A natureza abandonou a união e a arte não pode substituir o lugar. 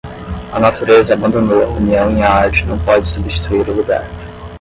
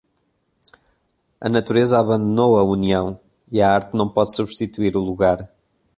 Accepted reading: second